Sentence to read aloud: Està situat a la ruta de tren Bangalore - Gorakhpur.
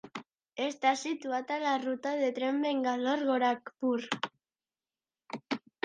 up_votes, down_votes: 2, 0